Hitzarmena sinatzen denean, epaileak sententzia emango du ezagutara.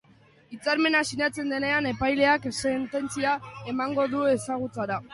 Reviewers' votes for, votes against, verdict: 2, 1, accepted